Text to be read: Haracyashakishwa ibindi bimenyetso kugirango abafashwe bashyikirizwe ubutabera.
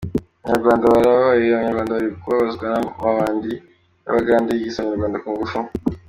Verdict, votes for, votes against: rejected, 0, 2